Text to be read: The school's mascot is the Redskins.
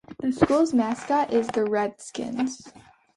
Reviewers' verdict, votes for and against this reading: accepted, 2, 0